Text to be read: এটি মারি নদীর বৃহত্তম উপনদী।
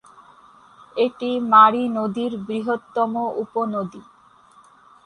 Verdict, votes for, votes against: accepted, 4, 2